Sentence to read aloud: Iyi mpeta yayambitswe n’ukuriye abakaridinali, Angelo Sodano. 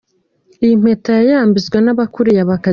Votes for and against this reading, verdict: 1, 2, rejected